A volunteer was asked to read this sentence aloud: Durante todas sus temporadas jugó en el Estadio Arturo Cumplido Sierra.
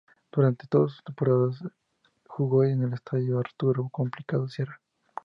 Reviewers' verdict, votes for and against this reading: accepted, 2, 0